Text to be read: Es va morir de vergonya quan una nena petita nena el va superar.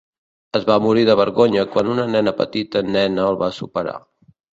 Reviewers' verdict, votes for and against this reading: rejected, 1, 2